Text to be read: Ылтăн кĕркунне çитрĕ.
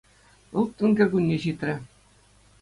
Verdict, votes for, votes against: accepted, 2, 0